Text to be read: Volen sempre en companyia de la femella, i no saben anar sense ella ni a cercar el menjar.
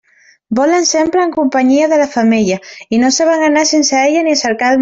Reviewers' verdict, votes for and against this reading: rejected, 0, 2